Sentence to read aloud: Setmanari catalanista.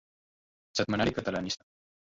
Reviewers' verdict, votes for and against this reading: rejected, 0, 2